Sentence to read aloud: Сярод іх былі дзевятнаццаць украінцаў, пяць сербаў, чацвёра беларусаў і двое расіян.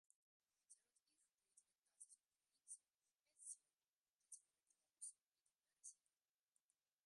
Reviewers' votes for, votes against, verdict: 0, 2, rejected